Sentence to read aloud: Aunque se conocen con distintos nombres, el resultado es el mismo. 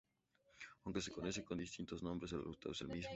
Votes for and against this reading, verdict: 2, 0, accepted